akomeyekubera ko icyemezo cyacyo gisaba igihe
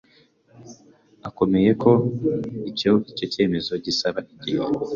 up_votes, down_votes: 0, 2